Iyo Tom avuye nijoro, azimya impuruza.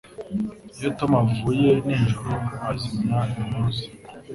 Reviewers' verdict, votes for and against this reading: accepted, 2, 0